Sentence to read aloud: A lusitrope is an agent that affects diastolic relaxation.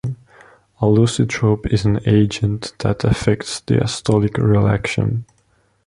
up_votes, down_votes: 4, 3